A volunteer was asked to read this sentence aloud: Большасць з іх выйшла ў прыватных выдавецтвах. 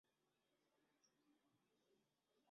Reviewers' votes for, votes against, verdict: 0, 2, rejected